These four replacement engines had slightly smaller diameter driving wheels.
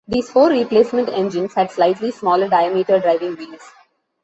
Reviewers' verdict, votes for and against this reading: accepted, 2, 0